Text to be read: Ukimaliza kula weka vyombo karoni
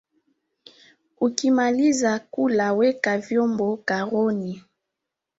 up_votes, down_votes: 2, 0